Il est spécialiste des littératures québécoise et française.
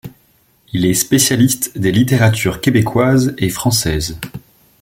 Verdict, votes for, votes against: accepted, 2, 0